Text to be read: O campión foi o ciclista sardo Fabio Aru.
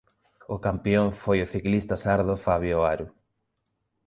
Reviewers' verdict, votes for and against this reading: rejected, 1, 2